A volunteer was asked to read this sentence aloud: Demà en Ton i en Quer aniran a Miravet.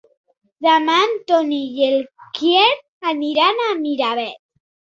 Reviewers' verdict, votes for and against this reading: accepted, 2, 1